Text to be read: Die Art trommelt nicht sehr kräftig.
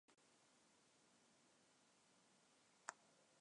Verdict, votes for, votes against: rejected, 0, 2